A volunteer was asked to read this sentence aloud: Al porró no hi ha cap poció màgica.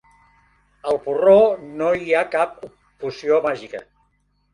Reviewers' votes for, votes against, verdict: 1, 2, rejected